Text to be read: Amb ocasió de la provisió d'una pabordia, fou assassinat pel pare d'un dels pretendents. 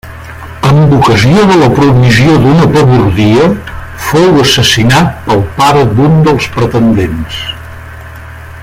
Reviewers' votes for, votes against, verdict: 1, 2, rejected